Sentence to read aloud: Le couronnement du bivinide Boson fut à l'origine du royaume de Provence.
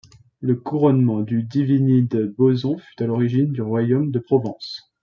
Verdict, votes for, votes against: rejected, 0, 2